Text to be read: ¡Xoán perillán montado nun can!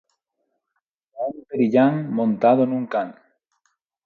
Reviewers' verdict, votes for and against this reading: rejected, 0, 4